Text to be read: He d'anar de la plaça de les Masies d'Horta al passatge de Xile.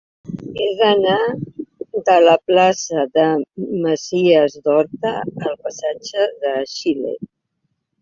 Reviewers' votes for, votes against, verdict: 1, 2, rejected